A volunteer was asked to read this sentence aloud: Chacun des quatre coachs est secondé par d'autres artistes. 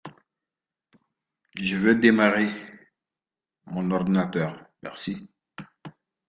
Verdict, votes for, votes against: rejected, 0, 2